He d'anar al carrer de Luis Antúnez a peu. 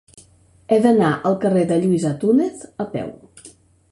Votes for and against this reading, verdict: 2, 0, accepted